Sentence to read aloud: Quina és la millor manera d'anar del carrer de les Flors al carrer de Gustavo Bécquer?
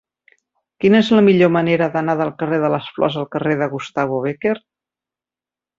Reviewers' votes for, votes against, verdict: 5, 0, accepted